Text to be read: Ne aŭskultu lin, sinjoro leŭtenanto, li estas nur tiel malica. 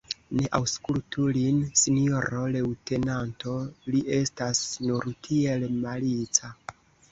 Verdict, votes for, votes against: accepted, 2, 1